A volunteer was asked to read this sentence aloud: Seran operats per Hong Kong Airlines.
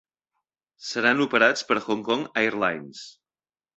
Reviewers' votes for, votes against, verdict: 3, 0, accepted